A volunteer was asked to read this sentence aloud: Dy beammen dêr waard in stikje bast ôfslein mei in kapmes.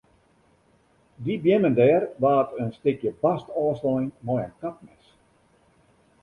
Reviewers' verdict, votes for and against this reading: accepted, 2, 0